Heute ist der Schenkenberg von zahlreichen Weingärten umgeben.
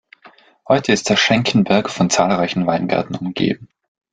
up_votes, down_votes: 1, 2